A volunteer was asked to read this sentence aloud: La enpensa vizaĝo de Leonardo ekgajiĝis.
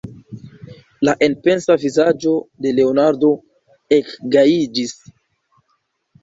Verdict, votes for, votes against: rejected, 1, 2